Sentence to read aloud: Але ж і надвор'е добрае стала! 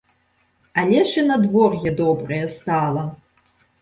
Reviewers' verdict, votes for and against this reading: accepted, 3, 1